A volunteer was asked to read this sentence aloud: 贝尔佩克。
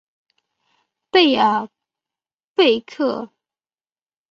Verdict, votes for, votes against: rejected, 0, 3